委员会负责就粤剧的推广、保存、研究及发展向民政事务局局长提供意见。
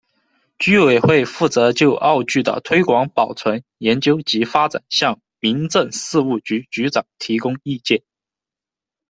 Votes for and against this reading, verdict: 2, 0, accepted